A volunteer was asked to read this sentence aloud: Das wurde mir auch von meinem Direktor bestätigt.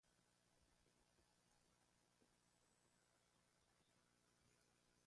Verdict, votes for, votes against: rejected, 0, 2